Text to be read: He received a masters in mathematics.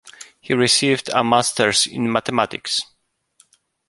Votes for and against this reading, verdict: 3, 0, accepted